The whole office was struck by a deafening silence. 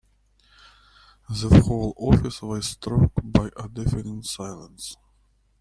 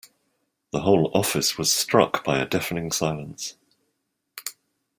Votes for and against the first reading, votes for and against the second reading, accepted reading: 1, 2, 2, 0, second